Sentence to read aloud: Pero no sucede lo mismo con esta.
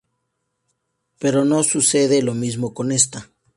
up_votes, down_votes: 0, 2